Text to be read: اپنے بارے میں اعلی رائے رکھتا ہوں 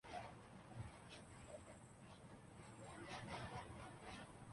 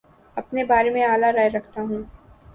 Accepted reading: second